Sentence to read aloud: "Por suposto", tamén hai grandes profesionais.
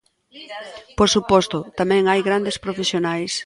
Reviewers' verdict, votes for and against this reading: rejected, 1, 2